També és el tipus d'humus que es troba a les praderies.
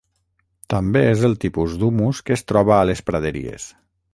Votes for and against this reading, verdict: 0, 3, rejected